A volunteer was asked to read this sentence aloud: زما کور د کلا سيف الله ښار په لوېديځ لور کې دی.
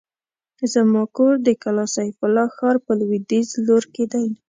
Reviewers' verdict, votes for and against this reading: accepted, 2, 0